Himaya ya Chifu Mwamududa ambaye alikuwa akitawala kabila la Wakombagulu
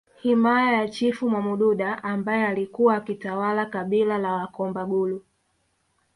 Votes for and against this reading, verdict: 2, 0, accepted